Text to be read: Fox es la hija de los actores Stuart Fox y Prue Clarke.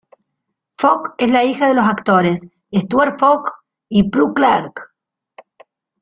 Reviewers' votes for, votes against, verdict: 1, 2, rejected